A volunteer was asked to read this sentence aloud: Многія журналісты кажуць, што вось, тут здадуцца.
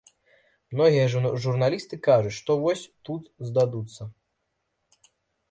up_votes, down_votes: 1, 2